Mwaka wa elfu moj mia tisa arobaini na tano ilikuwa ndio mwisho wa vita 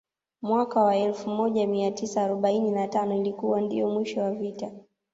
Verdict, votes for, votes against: accepted, 2, 0